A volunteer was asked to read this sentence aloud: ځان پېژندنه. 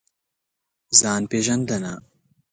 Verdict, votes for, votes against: accepted, 2, 0